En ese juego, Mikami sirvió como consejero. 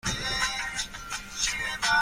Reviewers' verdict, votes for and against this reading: rejected, 0, 2